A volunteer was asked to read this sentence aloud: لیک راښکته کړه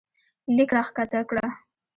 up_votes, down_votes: 0, 2